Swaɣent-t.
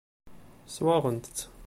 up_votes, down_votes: 0, 2